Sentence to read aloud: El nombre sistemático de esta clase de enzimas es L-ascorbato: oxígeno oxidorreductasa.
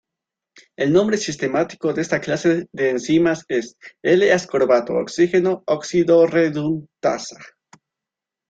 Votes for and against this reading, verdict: 1, 2, rejected